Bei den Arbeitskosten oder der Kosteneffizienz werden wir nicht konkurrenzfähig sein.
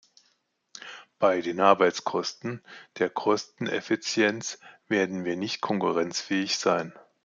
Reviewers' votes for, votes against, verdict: 1, 2, rejected